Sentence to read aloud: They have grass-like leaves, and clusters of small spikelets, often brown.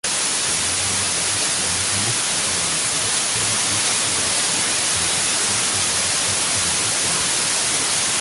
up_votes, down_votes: 0, 2